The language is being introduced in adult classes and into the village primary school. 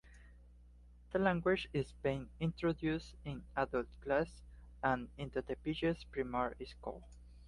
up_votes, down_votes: 1, 2